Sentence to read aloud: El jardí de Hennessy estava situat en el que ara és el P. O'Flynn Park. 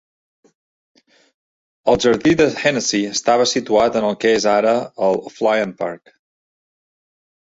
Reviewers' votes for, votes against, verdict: 1, 2, rejected